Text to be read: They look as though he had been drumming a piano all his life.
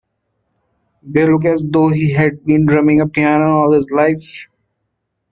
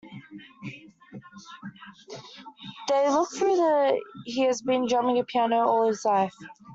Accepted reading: first